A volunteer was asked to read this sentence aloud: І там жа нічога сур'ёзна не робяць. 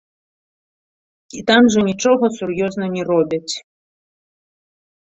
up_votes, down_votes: 2, 1